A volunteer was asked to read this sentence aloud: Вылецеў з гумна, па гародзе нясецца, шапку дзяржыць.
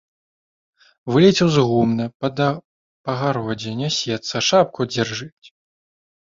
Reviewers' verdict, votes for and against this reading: rejected, 0, 4